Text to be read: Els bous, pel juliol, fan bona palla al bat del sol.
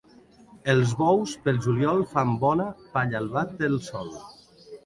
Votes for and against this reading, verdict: 2, 1, accepted